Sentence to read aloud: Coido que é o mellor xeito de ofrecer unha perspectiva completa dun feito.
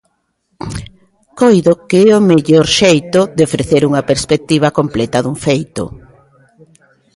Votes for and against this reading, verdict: 2, 0, accepted